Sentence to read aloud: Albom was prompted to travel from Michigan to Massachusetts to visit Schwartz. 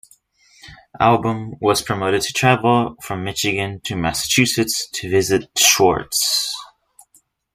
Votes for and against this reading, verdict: 0, 2, rejected